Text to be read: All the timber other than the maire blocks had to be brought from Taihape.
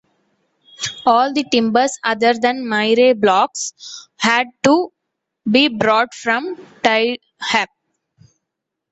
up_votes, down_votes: 0, 2